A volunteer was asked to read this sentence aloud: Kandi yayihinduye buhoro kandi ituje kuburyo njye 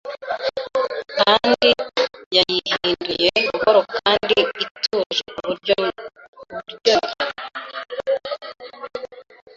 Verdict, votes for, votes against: rejected, 0, 2